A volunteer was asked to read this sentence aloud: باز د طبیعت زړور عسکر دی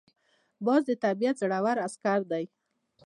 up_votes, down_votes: 2, 0